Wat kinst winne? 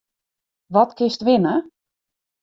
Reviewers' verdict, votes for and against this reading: accepted, 2, 0